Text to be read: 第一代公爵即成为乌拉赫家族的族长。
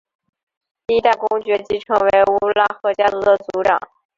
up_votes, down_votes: 0, 4